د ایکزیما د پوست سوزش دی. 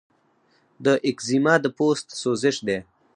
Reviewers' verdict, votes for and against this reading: rejected, 2, 4